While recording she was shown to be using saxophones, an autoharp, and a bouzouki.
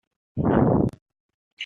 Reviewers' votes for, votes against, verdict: 1, 3, rejected